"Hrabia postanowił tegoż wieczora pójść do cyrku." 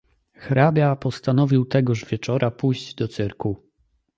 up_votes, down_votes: 2, 0